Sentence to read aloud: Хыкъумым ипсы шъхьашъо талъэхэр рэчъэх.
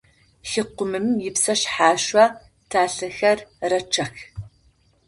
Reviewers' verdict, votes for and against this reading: rejected, 0, 4